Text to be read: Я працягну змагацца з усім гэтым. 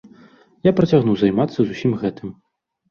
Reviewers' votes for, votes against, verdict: 1, 3, rejected